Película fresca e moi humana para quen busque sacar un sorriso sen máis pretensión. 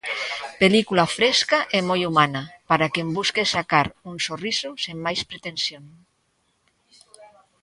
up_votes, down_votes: 0, 2